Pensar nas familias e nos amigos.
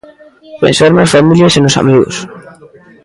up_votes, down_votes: 0, 2